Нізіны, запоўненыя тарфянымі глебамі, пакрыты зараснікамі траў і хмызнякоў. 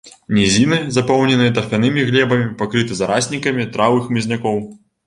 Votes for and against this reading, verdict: 1, 2, rejected